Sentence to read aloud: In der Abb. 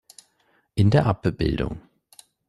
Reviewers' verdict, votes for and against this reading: rejected, 1, 2